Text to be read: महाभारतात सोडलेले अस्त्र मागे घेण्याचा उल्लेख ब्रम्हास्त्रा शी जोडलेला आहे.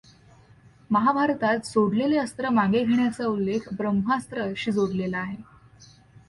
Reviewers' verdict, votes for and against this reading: accepted, 2, 0